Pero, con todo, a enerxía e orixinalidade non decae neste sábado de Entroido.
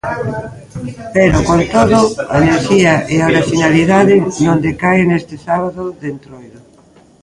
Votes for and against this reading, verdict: 1, 2, rejected